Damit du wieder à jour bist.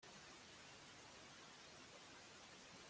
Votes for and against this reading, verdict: 0, 2, rejected